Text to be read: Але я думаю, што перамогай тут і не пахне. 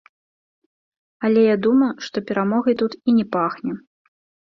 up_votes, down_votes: 1, 2